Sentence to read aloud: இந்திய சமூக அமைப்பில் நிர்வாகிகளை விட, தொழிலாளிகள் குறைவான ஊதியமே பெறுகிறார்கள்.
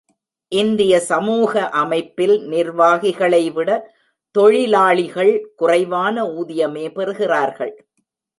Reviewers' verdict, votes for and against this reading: accepted, 2, 0